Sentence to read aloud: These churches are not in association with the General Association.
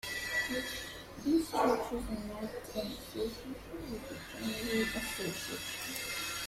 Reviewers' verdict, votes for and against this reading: rejected, 1, 2